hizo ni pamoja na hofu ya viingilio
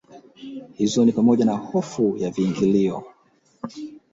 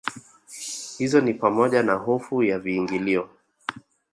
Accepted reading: second